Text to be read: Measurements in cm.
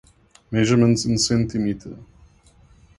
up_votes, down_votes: 2, 0